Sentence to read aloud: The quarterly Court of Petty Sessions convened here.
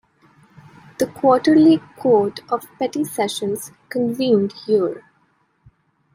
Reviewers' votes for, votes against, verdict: 2, 0, accepted